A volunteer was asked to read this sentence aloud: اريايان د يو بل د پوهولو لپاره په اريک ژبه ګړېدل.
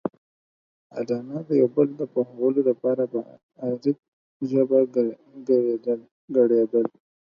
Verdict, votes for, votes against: rejected, 2, 4